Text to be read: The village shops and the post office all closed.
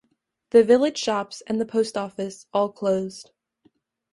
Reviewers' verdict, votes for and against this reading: accepted, 2, 0